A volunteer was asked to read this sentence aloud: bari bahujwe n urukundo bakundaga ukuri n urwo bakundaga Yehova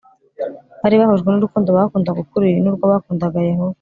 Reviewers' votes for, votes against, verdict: 2, 0, accepted